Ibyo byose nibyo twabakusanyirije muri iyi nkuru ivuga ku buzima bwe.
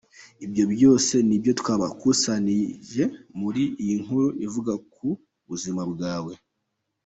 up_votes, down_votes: 1, 2